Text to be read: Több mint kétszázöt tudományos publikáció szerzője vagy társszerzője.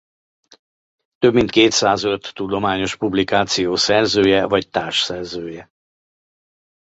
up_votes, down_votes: 2, 0